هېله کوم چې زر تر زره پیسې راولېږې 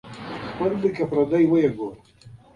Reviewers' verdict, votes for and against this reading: rejected, 0, 2